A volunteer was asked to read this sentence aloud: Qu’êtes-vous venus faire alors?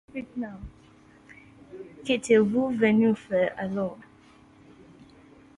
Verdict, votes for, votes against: rejected, 1, 2